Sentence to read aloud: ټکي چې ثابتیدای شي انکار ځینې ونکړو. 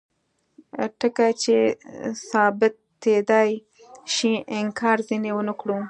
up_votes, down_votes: 2, 0